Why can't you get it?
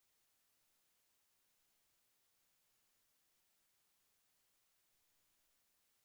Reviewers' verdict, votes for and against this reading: rejected, 1, 2